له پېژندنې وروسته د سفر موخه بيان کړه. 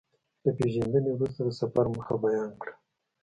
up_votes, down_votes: 1, 2